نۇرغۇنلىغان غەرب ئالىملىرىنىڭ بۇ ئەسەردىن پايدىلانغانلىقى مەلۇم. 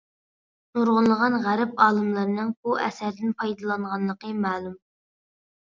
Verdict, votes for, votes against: accepted, 2, 0